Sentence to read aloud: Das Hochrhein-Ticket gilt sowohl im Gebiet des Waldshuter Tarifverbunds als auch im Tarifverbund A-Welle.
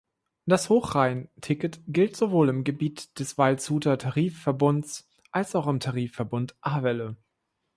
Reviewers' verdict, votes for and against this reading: accepted, 2, 0